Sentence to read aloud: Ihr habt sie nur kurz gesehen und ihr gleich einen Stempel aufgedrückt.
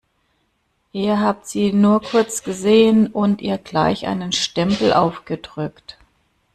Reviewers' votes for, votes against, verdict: 2, 0, accepted